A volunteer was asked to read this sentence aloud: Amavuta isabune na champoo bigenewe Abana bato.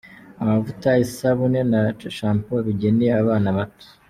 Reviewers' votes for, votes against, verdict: 2, 0, accepted